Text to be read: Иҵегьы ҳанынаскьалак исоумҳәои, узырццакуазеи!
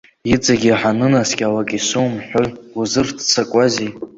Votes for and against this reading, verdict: 2, 0, accepted